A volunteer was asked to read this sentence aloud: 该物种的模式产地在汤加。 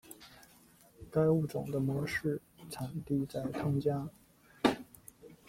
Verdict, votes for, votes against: rejected, 1, 2